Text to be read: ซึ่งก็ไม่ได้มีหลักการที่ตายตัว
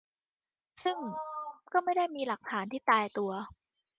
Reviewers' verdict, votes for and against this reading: rejected, 0, 2